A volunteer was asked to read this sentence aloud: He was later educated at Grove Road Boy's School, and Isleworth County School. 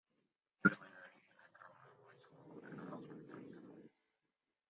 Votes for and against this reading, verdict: 0, 2, rejected